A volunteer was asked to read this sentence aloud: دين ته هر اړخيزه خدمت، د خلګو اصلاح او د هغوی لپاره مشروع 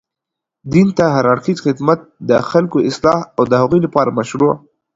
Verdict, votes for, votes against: accepted, 2, 0